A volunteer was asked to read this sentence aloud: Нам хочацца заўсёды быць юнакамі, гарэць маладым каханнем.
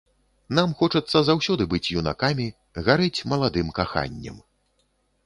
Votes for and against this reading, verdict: 3, 0, accepted